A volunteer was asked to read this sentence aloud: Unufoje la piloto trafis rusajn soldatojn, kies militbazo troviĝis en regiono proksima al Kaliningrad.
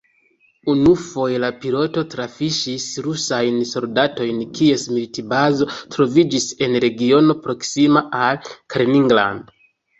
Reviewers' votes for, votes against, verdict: 2, 0, accepted